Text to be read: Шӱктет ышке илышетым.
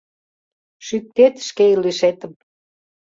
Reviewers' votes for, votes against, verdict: 1, 2, rejected